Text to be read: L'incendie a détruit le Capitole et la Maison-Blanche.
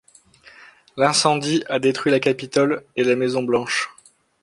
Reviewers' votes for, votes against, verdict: 0, 2, rejected